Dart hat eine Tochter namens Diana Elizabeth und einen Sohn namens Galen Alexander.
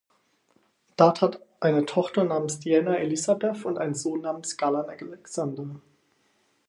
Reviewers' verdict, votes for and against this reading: rejected, 2, 4